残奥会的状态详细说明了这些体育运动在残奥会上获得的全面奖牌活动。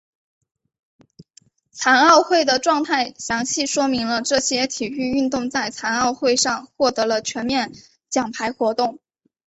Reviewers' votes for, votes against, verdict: 2, 3, rejected